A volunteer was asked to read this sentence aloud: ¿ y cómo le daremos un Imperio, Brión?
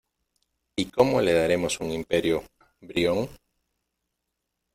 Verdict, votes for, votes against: accepted, 2, 0